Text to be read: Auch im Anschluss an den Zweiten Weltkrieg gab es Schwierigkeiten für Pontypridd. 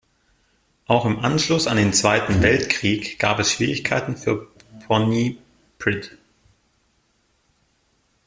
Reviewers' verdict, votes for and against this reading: rejected, 0, 2